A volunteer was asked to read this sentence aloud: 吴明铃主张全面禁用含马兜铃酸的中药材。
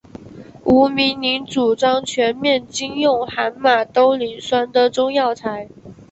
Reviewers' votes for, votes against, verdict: 3, 0, accepted